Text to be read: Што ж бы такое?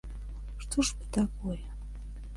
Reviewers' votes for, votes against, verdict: 0, 2, rejected